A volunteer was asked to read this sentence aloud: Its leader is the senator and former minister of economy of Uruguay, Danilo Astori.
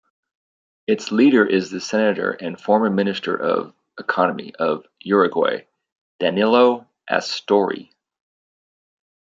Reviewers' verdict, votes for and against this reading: rejected, 1, 2